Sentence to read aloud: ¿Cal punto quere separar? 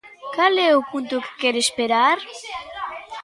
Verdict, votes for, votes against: rejected, 0, 2